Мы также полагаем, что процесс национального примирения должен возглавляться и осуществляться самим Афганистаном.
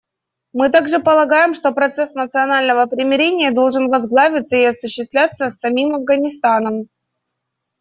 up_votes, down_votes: 1, 2